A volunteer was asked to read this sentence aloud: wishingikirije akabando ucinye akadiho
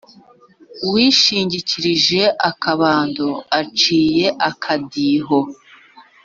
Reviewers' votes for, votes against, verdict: 1, 2, rejected